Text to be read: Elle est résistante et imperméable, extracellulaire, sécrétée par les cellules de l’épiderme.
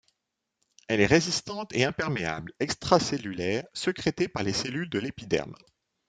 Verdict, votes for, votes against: rejected, 0, 2